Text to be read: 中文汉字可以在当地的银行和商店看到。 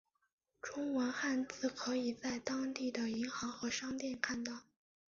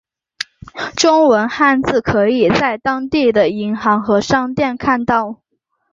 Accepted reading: second